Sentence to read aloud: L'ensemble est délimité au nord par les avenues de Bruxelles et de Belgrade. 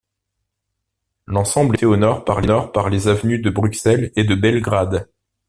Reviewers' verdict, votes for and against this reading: rejected, 1, 2